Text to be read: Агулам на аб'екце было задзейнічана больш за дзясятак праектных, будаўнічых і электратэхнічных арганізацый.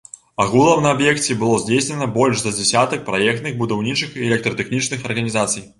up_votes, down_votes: 1, 2